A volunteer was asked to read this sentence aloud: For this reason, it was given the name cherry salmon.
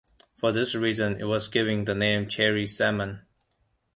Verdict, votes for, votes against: rejected, 0, 2